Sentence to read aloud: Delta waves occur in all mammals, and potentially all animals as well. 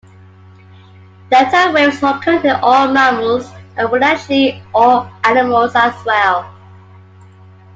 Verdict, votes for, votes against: rejected, 1, 2